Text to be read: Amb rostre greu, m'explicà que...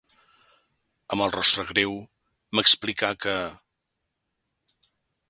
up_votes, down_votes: 2, 1